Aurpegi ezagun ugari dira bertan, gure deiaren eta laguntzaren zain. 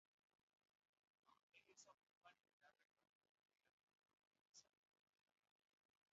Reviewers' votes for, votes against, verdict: 0, 2, rejected